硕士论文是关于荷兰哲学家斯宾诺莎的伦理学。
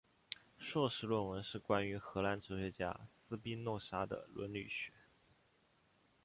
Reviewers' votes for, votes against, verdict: 3, 2, accepted